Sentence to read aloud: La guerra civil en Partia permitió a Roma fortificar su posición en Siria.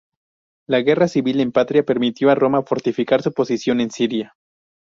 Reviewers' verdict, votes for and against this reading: rejected, 0, 2